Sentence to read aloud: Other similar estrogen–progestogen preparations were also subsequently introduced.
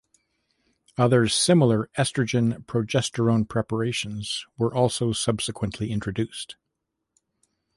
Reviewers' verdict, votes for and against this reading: rejected, 1, 2